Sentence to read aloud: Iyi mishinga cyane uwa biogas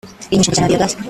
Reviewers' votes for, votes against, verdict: 0, 2, rejected